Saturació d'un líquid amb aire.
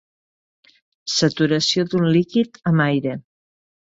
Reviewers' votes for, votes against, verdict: 3, 0, accepted